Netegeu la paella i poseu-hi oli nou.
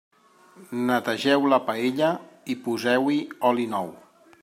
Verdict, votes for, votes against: accepted, 3, 0